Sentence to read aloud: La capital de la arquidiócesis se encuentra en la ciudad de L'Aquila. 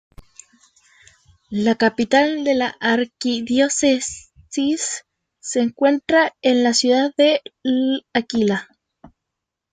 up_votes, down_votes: 1, 2